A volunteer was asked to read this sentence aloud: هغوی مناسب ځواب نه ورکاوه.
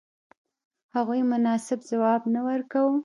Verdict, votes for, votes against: accepted, 2, 1